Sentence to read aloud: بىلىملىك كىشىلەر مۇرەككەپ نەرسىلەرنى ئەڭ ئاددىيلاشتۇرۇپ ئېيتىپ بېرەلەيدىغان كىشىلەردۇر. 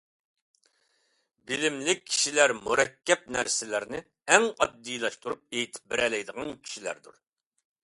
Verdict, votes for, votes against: accepted, 2, 0